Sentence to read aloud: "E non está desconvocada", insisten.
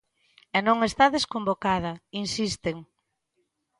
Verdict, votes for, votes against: accepted, 2, 0